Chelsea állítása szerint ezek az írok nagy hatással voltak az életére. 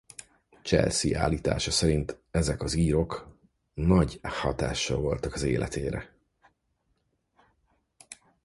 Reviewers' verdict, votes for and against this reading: accepted, 4, 0